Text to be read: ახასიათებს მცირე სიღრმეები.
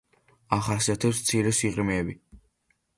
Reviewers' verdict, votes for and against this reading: accepted, 2, 0